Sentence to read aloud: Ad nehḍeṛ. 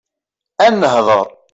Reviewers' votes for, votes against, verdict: 2, 0, accepted